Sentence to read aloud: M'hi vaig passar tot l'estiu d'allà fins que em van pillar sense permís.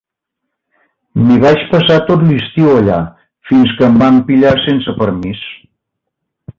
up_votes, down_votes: 1, 2